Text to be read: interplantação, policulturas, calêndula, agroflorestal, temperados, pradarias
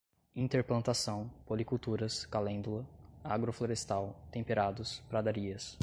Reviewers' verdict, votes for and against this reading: accepted, 2, 0